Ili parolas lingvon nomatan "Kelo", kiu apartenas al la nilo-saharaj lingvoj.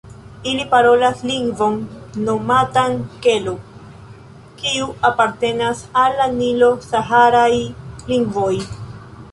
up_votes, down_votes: 2, 1